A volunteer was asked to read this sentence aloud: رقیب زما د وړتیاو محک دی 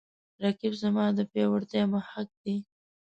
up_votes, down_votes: 1, 2